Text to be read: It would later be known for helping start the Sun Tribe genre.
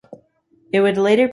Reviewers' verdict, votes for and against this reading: rejected, 0, 2